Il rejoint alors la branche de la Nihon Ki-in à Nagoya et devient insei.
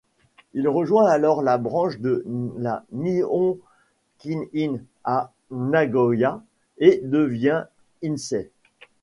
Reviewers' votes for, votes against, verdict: 1, 2, rejected